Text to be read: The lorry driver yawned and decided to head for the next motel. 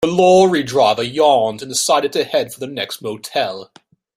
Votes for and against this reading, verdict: 2, 0, accepted